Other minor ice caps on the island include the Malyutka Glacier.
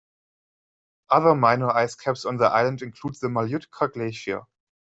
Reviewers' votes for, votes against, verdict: 0, 2, rejected